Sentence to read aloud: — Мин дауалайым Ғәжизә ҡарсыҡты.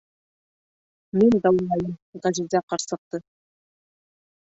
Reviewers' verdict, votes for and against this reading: rejected, 1, 2